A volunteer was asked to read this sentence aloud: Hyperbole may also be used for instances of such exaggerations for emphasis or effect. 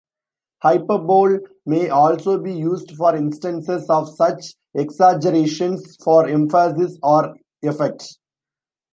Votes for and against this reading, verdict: 0, 2, rejected